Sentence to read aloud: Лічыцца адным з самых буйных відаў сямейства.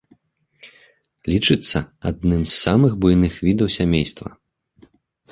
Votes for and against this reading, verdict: 2, 0, accepted